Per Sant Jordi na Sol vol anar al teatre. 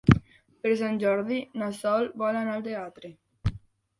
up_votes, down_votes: 3, 0